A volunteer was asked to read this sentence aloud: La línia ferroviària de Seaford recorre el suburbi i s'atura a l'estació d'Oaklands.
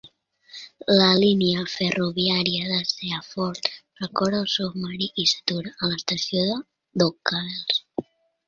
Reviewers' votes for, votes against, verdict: 2, 3, rejected